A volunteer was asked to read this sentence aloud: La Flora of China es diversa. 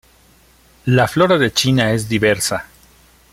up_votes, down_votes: 1, 2